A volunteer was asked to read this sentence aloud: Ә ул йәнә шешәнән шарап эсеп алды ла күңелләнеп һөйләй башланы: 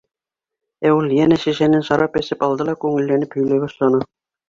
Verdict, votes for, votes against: accepted, 2, 0